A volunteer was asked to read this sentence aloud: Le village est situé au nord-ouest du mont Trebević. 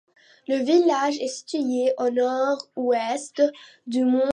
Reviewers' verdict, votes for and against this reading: rejected, 1, 2